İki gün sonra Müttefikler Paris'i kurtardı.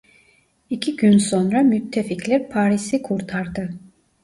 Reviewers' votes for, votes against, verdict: 2, 0, accepted